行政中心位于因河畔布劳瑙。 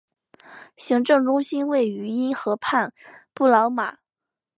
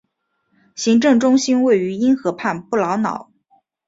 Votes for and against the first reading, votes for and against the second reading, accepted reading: 0, 2, 5, 1, second